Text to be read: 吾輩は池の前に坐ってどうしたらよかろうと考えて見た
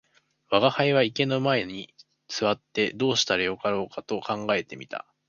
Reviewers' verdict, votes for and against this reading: accepted, 2, 1